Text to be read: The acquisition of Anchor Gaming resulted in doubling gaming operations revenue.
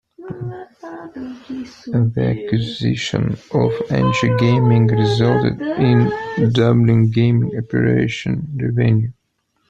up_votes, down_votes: 0, 2